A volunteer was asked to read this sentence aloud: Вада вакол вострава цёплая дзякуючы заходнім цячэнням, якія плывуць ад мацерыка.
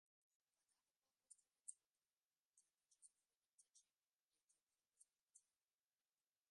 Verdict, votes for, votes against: rejected, 0, 2